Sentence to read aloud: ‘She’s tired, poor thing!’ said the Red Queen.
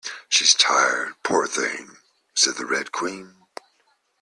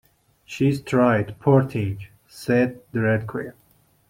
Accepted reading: first